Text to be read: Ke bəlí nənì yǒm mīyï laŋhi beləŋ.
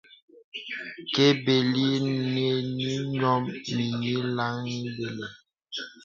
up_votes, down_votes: 0, 2